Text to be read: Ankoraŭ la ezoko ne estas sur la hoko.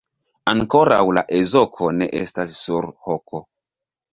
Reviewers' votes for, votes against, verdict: 1, 3, rejected